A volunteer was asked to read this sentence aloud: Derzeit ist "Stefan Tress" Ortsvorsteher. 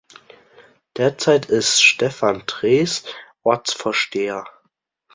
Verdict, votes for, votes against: rejected, 1, 2